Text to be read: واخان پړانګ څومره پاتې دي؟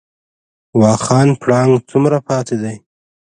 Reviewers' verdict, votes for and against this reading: rejected, 0, 2